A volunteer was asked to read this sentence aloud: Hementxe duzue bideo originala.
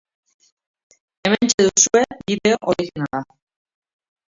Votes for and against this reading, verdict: 0, 2, rejected